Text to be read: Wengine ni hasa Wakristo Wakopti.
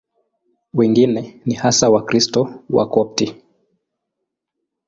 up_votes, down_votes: 2, 0